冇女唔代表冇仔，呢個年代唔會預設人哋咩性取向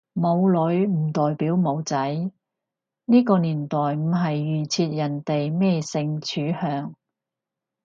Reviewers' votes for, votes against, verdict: 0, 2, rejected